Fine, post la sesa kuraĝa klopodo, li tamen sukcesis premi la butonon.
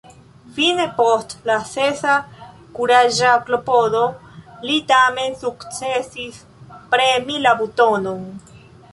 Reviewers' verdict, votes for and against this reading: rejected, 0, 2